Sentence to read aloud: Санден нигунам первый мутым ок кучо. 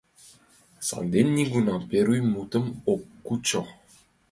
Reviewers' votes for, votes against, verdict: 2, 1, accepted